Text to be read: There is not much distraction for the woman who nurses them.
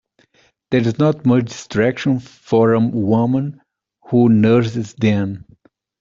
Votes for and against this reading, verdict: 1, 2, rejected